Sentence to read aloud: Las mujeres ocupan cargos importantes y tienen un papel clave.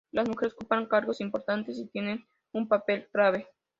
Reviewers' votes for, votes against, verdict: 0, 2, rejected